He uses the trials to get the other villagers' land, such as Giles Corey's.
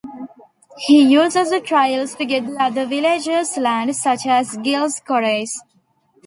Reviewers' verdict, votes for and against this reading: rejected, 0, 2